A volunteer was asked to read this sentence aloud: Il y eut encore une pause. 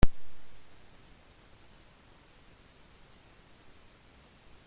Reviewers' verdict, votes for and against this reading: rejected, 0, 2